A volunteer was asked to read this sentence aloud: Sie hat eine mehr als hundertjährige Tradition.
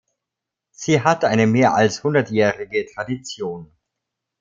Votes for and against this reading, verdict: 1, 2, rejected